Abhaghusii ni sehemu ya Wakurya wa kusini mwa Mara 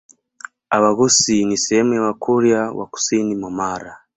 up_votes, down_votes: 2, 1